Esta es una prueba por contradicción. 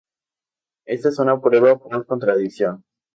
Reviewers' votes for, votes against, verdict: 2, 0, accepted